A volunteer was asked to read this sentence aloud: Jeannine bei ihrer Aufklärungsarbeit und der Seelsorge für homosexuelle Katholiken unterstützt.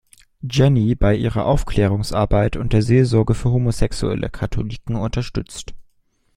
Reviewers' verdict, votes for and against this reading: rejected, 1, 2